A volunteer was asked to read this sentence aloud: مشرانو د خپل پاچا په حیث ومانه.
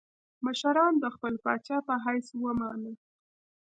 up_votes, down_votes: 2, 1